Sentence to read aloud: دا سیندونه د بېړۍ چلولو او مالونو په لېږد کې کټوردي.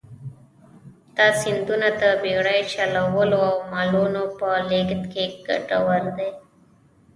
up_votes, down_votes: 2, 1